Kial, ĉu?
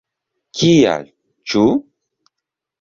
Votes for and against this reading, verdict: 2, 0, accepted